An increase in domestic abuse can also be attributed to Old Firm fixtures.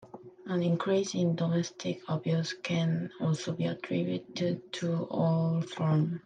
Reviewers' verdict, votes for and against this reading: rejected, 0, 2